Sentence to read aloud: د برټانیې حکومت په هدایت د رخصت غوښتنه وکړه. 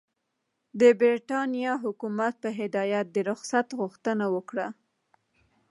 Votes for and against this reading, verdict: 1, 2, rejected